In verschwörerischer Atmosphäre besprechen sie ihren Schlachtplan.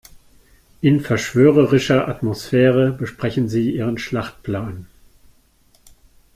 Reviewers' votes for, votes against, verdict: 2, 0, accepted